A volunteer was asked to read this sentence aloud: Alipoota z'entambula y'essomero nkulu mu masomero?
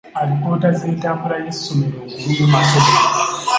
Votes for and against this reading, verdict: 0, 2, rejected